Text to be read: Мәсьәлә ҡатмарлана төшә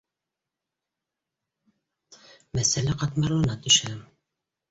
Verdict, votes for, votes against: accepted, 2, 0